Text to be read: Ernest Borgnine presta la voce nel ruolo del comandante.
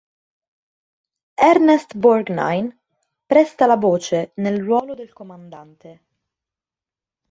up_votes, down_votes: 1, 2